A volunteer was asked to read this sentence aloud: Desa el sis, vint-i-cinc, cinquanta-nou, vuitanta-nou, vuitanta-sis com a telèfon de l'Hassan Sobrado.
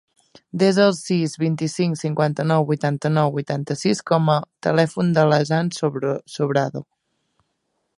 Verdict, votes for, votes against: rejected, 0, 2